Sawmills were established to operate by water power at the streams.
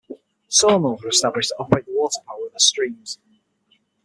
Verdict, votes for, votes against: rejected, 3, 6